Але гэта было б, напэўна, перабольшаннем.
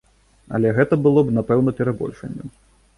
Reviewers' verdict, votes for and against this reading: accepted, 2, 0